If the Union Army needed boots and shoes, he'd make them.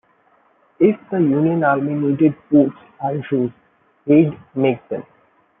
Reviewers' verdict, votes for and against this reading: rejected, 0, 2